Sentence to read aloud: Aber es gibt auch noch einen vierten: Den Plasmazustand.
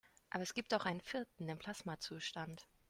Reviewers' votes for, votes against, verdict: 1, 2, rejected